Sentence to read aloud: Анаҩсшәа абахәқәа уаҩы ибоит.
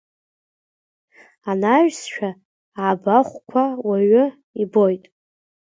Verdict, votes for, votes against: accepted, 2, 1